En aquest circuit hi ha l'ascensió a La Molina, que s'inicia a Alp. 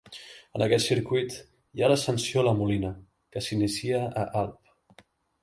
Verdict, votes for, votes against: accepted, 2, 0